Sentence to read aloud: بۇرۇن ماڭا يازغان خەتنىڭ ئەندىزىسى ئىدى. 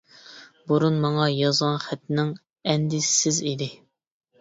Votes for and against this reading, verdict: 1, 2, rejected